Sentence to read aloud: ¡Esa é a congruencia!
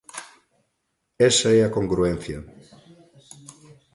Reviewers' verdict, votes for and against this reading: accepted, 2, 0